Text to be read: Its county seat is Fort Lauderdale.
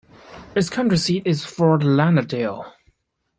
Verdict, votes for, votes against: accepted, 2, 1